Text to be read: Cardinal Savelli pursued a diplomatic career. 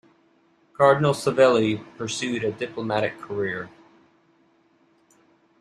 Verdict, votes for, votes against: accepted, 2, 0